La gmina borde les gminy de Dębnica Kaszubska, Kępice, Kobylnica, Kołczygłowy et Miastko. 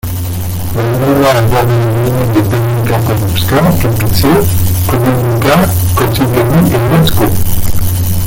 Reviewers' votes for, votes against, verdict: 0, 2, rejected